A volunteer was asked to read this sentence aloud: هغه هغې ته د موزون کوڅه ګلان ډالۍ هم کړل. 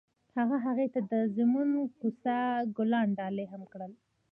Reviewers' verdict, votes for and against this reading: rejected, 0, 2